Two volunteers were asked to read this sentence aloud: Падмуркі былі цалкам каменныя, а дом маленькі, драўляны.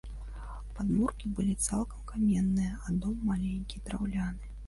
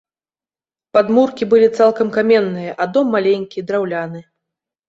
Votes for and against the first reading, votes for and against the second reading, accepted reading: 1, 2, 2, 0, second